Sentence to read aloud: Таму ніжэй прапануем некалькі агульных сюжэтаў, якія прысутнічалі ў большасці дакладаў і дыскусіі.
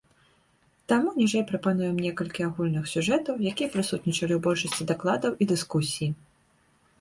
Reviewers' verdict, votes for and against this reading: rejected, 0, 2